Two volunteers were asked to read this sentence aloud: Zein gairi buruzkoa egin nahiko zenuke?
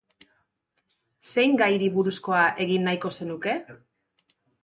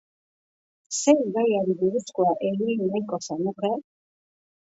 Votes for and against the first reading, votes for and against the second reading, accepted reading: 6, 0, 2, 3, first